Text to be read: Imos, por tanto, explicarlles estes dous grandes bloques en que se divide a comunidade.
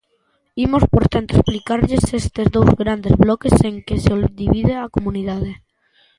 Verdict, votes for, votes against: rejected, 0, 2